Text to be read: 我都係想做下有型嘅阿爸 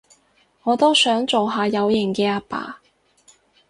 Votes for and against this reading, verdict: 2, 2, rejected